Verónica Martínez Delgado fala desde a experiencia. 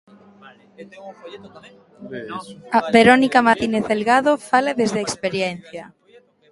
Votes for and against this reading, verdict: 0, 2, rejected